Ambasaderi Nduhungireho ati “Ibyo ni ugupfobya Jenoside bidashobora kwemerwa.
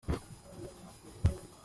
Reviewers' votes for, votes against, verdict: 0, 2, rejected